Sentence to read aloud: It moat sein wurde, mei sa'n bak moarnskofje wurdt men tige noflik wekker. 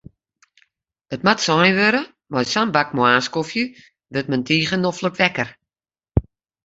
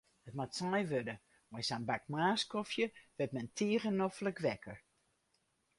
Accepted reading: first